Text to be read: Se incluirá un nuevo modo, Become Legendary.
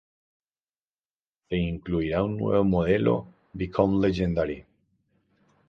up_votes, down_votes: 0, 2